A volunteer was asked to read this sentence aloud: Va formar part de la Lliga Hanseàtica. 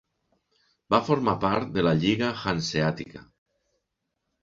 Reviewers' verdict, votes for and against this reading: accepted, 3, 0